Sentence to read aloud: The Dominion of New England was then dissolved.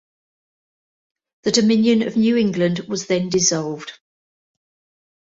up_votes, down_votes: 2, 0